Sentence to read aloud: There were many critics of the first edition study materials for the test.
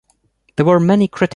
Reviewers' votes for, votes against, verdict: 0, 2, rejected